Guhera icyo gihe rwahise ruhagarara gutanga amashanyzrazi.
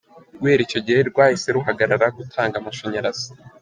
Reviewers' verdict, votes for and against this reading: accepted, 2, 0